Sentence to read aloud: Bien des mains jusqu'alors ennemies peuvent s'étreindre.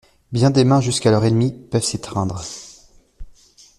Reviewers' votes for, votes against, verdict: 2, 0, accepted